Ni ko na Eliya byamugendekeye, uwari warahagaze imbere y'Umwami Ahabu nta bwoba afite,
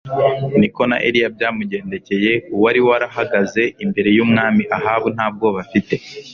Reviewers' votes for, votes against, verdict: 3, 0, accepted